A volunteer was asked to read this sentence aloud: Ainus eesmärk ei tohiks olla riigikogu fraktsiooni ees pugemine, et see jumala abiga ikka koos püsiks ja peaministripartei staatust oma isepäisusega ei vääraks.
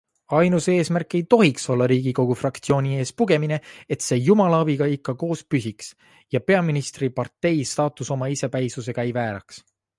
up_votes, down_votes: 1, 2